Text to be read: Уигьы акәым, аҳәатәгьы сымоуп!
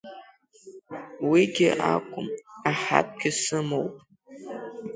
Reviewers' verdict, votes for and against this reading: rejected, 6, 7